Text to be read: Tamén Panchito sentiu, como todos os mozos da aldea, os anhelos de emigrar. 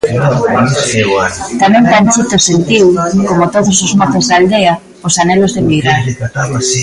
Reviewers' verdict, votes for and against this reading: rejected, 0, 2